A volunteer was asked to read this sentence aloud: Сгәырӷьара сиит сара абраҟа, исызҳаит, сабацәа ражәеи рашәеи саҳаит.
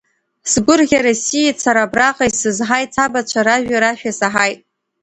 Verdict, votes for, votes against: accepted, 2, 0